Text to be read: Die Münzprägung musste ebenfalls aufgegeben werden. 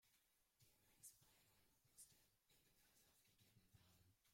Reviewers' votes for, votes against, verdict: 0, 2, rejected